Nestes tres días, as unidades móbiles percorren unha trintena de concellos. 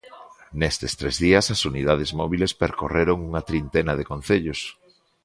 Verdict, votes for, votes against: rejected, 0, 2